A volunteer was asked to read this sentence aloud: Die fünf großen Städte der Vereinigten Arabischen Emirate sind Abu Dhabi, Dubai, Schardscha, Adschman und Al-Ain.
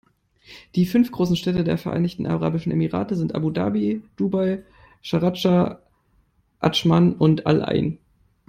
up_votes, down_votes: 1, 2